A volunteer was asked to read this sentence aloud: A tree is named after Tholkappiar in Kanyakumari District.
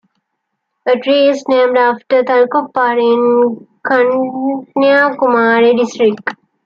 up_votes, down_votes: 1, 2